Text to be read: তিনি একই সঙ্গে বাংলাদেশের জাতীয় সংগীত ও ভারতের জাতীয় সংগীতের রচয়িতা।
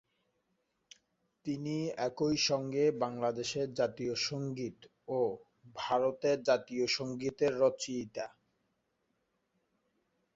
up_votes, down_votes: 0, 2